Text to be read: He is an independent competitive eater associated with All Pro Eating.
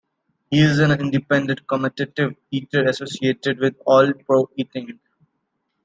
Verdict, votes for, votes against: rejected, 1, 2